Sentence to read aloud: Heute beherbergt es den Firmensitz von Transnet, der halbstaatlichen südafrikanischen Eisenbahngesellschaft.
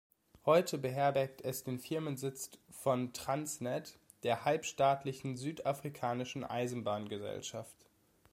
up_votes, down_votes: 2, 0